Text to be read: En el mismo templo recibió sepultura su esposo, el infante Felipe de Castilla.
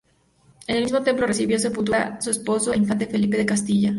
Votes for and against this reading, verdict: 2, 0, accepted